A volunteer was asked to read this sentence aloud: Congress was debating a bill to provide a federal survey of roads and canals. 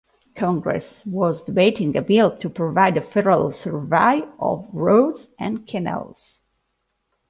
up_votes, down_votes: 2, 0